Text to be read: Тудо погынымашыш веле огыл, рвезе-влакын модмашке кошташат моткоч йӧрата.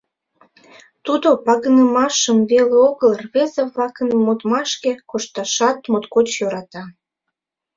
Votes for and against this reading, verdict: 0, 2, rejected